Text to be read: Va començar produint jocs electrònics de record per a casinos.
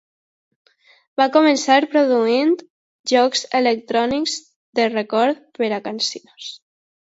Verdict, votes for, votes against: rejected, 0, 2